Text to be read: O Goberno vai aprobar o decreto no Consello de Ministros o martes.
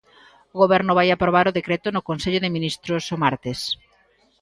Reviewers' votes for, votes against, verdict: 2, 0, accepted